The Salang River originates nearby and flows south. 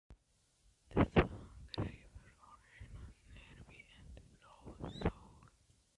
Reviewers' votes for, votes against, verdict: 0, 2, rejected